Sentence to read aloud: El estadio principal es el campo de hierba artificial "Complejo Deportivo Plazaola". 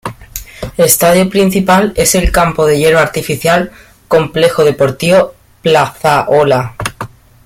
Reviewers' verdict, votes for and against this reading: rejected, 1, 2